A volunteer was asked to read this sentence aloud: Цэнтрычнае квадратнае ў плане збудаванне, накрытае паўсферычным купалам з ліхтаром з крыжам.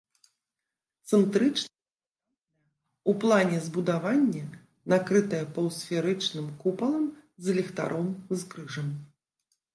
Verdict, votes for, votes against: rejected, 0, 2